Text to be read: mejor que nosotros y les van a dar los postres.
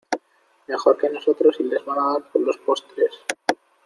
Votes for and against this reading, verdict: 1, 2, rejected